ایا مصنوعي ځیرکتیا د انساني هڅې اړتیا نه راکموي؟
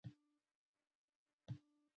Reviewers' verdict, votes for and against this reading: rejected, 0, 2